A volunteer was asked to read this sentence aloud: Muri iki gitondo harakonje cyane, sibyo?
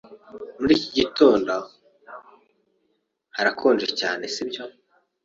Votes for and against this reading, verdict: 2, 0, accepted